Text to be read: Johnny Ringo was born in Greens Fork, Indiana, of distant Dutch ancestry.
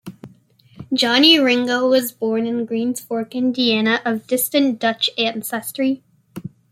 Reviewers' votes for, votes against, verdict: 0, 2, rejected